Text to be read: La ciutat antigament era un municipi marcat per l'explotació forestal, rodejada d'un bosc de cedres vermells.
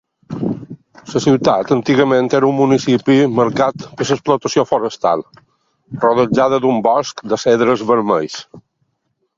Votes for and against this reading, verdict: 1, 2, rejected